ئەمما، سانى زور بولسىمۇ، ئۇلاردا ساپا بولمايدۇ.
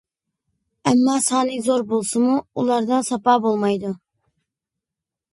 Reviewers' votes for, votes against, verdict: 2, 0, accepted